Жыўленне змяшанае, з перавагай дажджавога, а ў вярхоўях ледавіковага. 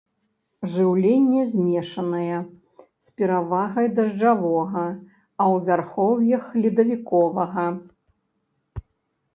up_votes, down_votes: 0, 2